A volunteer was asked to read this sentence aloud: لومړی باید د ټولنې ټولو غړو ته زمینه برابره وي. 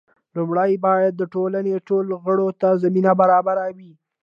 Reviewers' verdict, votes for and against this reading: accepted, 2, 0